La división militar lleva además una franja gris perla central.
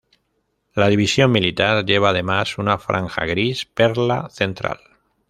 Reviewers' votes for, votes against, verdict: 2, 0, accepted